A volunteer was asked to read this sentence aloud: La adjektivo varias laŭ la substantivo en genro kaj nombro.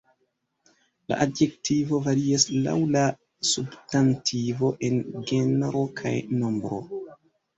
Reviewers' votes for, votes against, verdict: 0, 2, rejected